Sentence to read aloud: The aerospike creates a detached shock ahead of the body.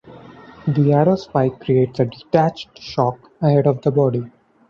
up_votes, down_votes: 0, 2